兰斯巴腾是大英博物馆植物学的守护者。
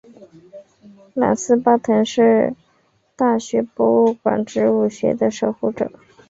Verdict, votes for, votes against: rejected, 0, 4